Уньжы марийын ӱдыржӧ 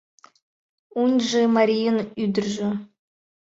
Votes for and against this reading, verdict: 2, 1, accepted